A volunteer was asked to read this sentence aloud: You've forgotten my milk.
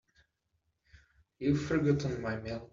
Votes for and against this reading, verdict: 0, 2, rejected